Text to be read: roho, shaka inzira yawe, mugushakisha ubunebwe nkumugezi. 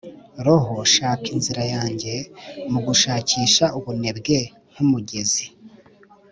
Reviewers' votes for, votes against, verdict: 1, 3, rejected